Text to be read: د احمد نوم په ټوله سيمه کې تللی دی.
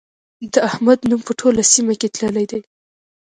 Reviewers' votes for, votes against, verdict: 3, 0, accepted